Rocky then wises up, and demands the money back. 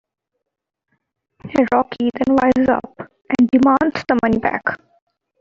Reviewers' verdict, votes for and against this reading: rejected, 0, 2